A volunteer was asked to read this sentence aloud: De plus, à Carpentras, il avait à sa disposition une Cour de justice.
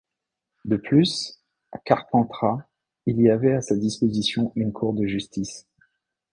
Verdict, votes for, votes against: rejected, 0, 2